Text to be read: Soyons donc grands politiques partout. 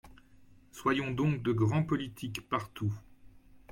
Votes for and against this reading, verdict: 1, 2, rejected